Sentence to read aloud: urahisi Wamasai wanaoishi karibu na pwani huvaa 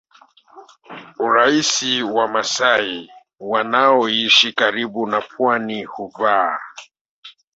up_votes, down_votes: 2, 1